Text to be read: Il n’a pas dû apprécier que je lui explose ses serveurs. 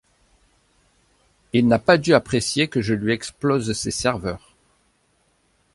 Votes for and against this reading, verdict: 2, 0, accepted